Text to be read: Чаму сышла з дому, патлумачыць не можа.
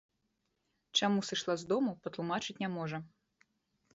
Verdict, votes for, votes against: rejected, 1, 2